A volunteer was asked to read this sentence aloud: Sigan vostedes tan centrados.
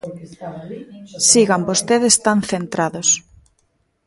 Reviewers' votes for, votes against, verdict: 1, 2, rejected